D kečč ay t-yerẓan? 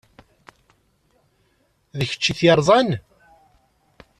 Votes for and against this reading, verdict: 2, 0, accepted